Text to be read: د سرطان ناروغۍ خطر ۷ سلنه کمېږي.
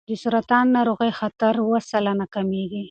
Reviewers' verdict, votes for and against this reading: rejected, 0, 2